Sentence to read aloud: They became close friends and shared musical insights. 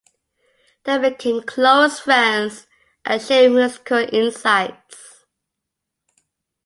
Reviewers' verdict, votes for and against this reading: accepted, 2, 0